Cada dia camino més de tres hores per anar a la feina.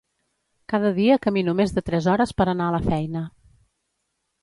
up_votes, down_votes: 2, 0